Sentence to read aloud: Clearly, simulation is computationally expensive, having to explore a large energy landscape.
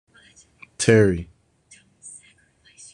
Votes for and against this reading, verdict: 0, 2, rejected